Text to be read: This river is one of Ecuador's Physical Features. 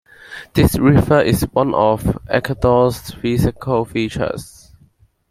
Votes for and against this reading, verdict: 2, 1, accepted